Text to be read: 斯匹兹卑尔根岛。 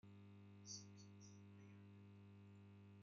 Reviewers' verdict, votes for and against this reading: rejected, 0, 2